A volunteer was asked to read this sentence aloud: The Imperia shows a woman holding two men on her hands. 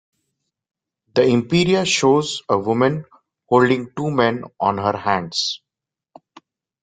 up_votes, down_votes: 2, 1